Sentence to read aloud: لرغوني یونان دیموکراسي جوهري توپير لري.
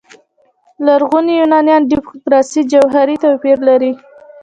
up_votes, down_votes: 1, 2